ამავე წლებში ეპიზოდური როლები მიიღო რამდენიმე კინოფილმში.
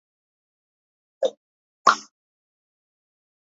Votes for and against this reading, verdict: 0, 2, rejected